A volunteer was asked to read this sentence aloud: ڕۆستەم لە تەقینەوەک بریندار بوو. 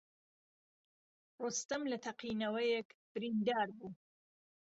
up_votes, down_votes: 1, 2